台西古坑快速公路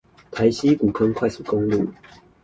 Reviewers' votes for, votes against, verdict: 2, 2, rejected